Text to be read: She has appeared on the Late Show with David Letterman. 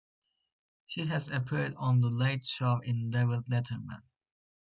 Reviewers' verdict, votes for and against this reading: rejected, 1, 2